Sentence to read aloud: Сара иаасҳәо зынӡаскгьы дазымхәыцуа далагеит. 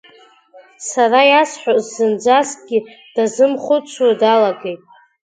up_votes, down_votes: 0, 2